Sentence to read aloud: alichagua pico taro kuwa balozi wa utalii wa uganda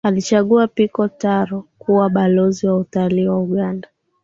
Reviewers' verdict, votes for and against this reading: accepted, 2, 1